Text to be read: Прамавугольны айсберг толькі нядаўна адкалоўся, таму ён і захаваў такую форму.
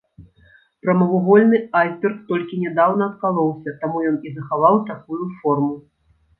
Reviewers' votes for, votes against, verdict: 2, 0, accepted